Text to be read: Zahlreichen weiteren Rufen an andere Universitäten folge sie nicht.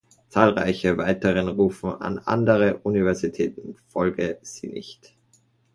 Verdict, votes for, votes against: rejected, 0, 2